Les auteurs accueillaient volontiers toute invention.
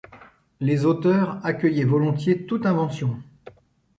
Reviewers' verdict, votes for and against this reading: accepted, 2, 0